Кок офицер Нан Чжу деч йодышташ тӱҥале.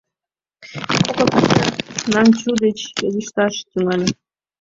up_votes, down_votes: 1, 2